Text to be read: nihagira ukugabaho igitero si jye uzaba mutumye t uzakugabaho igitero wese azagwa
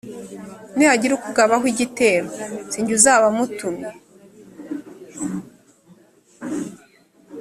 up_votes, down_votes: 2, 3